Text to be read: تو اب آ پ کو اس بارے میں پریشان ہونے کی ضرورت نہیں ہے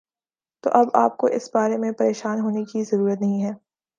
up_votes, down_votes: 2, 0